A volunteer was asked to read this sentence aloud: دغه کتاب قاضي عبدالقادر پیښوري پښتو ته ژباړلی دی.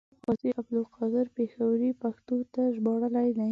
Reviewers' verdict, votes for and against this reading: rejected, 1, 2